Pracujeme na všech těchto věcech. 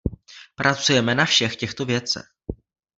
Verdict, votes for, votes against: rejected, 1, 2